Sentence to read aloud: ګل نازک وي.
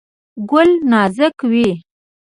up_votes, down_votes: 0, 2